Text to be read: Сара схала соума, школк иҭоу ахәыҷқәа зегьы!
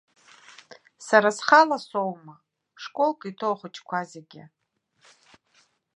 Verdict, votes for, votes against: accepted, 2, 0